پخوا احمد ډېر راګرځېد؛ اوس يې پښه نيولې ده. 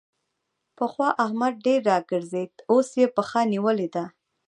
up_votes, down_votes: 1, 2